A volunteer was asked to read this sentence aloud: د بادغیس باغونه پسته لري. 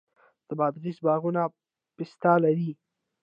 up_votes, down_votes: 1, 2